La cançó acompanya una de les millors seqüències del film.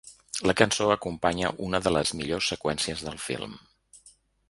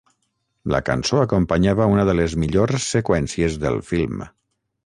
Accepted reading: first